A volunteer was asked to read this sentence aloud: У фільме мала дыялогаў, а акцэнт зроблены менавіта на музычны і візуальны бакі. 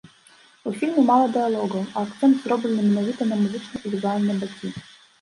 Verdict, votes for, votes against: rejected, 1, 2